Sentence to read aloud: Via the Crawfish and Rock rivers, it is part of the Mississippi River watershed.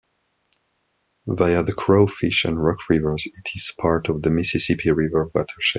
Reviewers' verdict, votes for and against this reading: accepted, 2, 0